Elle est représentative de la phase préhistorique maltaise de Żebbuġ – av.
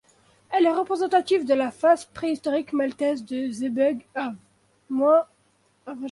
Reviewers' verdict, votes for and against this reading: rejected, 0, 2